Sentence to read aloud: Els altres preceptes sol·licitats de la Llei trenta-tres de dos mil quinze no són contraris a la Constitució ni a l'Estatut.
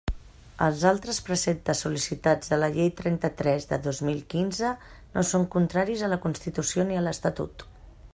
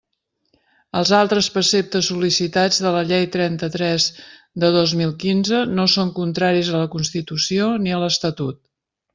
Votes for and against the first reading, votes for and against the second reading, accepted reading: 1, 2, 2, 0, second